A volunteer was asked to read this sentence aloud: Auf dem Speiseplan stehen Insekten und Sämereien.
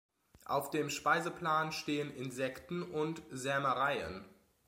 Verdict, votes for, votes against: accepted, 2, 0